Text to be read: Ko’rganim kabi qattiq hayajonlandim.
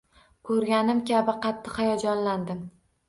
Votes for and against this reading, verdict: 2, 0, accepted